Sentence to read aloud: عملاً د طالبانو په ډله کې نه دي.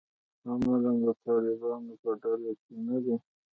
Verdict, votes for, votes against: accepted, 2, 0